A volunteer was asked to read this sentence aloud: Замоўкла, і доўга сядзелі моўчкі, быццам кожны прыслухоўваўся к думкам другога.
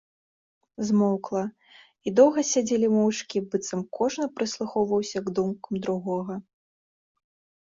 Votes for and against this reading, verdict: 1, 2, rejected